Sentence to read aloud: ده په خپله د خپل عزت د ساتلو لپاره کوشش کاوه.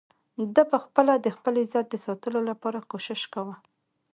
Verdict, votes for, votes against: accepted, 2, 0